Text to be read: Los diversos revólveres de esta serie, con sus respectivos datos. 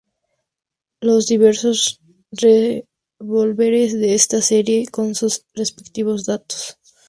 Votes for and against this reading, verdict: 2, 0, accepted